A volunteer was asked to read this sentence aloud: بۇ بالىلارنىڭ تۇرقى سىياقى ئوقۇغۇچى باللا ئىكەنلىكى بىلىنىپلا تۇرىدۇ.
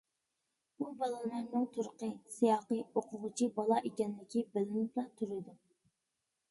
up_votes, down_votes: 0, 2